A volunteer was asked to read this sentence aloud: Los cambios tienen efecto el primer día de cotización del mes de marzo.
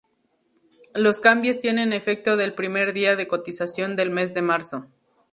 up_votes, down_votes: 2, 0